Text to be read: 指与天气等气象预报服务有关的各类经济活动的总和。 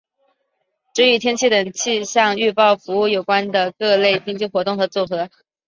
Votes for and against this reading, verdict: 2, 0, accepted